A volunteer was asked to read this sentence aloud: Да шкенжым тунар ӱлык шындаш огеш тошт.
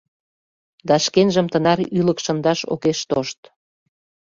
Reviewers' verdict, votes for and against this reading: rejected, 0, 2